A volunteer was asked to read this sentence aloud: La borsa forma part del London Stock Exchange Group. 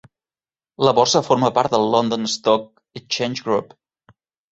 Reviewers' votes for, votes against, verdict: 2, 0, accepted